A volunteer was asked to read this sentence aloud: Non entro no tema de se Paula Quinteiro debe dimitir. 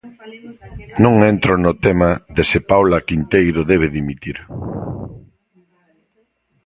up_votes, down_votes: 1, 2